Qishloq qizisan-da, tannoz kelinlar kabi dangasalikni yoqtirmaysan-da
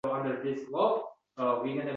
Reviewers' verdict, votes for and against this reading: rejected, 0, 2